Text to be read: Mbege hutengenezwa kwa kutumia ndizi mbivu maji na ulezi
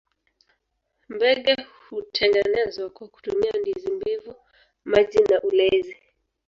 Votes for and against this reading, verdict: 1, 2, rejected